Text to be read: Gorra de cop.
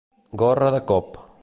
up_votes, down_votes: 3, 0